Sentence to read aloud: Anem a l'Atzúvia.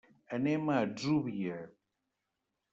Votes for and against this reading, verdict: 0, 2, rejected